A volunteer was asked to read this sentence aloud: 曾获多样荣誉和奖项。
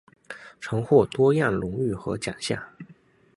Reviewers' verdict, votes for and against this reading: accepted, 2, 0